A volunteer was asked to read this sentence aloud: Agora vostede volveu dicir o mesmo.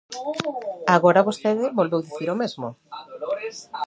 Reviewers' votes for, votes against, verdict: 0, 2, rejected